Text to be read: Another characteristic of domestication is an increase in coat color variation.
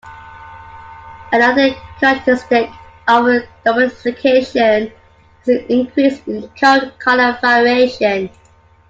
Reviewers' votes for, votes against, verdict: 1, 2, rejected